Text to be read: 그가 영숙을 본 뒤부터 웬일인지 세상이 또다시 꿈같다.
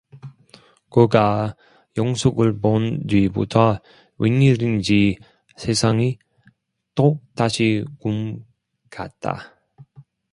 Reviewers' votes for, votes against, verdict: 0, 2, rejected